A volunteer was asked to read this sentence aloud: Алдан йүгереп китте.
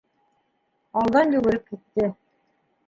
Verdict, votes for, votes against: rejected, 1, 2